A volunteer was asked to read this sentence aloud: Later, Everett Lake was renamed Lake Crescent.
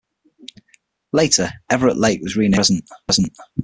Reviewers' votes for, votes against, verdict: 3, 6, rejected